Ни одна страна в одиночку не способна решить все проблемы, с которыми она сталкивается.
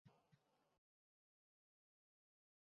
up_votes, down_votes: 0, 2